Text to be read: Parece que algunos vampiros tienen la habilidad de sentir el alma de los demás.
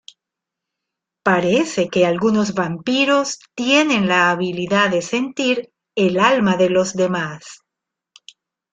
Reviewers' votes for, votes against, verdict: 2, 0, accepted